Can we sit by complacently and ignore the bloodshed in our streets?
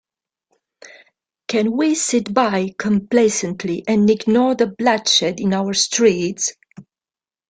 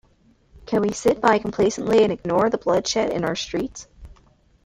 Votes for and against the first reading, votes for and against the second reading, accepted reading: 0, 2, 2, 0, second